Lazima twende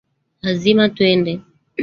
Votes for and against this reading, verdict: 1, 2, rejected